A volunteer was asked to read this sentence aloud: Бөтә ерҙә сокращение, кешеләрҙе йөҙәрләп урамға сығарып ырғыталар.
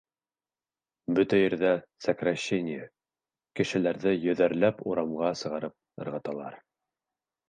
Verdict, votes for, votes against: accepted, 2, 0